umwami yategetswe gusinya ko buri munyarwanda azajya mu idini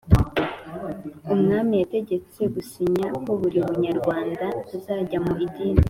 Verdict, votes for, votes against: accepted, 4, 0